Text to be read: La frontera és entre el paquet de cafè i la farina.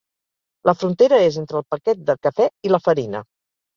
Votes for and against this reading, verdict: 3, 0, accepted